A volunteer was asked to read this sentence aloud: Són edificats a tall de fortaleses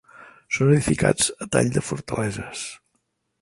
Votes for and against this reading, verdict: 4, 0, accepted